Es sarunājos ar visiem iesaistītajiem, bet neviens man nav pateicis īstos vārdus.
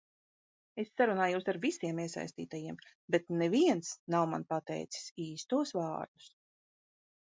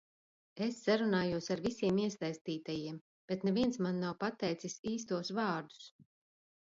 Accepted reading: second